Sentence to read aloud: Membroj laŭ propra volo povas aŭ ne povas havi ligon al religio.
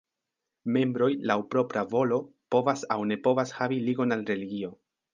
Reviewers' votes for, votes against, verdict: 2, 0, accepted